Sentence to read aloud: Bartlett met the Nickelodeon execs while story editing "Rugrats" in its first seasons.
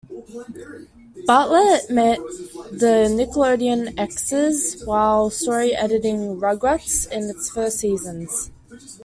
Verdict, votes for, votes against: accepted, 2, 0